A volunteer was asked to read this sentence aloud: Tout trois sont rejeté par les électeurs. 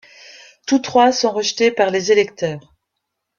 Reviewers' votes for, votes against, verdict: 2, 0, accepted